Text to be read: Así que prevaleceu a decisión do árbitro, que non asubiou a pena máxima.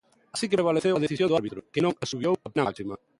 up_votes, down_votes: 1, 3